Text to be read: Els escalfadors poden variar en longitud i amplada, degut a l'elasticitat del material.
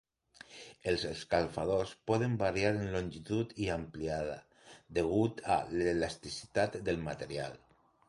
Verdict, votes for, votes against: rejected, 0, 3